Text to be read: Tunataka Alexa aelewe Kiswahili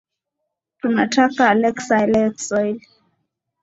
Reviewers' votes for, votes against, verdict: 2, 0, accepted